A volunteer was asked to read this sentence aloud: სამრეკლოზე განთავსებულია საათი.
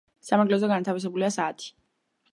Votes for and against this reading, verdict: 1, 2, rejected